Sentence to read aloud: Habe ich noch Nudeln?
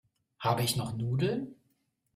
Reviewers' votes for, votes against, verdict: 2, 0, accepted